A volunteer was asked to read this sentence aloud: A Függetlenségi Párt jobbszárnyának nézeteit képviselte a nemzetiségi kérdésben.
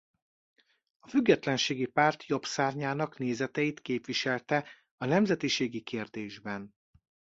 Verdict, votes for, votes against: rejected, 0, 2